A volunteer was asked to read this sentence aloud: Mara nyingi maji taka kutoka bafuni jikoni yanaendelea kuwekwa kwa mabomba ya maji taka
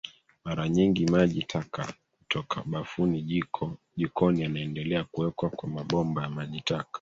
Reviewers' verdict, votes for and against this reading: rejected, 1, 2